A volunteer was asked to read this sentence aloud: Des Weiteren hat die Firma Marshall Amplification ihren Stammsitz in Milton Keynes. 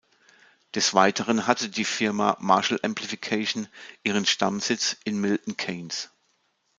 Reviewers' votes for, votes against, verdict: 0, 2, rejected